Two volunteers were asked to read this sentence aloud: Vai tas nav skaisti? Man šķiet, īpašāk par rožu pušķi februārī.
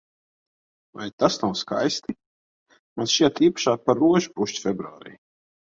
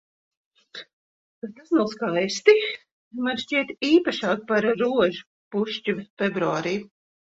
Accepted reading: first